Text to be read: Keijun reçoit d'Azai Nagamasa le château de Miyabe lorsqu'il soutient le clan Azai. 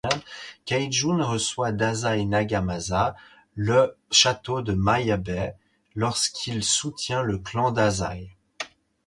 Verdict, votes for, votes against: rejected, 0, 4